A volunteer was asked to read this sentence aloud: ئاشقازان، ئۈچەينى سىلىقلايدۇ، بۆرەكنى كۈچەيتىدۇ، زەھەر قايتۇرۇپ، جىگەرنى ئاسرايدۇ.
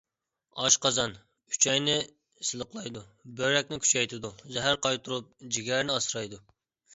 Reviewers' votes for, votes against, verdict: 2, 0, accepted